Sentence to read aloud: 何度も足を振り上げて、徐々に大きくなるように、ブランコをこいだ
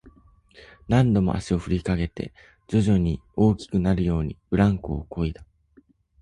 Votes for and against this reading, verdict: 1, 2, rejected